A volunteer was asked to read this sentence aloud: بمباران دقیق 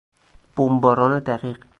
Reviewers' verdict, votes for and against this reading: accepted, 4, 0